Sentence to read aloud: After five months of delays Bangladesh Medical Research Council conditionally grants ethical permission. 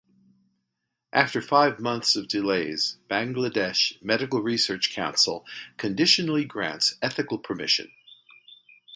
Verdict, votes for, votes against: accepted, 2, 0